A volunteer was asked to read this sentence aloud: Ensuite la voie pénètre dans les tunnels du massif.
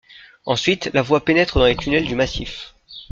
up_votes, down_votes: 0, 2